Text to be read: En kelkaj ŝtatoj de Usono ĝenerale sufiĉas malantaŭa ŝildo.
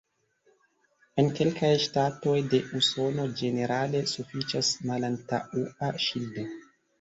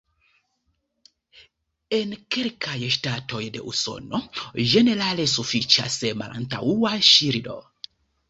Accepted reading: second